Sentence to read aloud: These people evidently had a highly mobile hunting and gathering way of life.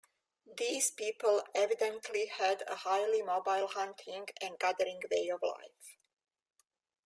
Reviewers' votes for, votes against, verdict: 2, 0, accepted